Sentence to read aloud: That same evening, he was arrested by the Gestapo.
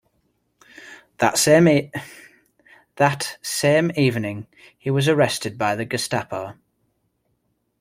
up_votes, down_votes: 1, 2